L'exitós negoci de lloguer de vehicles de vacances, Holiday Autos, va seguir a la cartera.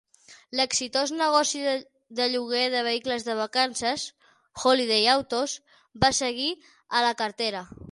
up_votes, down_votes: 0, 6